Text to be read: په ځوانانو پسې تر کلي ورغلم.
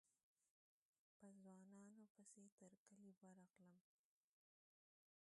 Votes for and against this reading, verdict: 0, 2, rejected